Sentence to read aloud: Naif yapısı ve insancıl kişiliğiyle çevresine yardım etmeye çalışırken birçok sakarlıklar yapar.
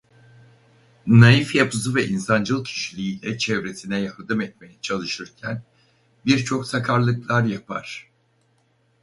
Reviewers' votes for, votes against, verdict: 2, 2, rejected